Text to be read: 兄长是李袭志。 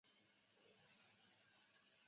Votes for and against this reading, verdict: 0, 3, rejected